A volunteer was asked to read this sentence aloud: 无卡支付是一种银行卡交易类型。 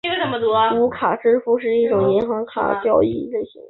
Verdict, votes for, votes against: rejected, 0, 2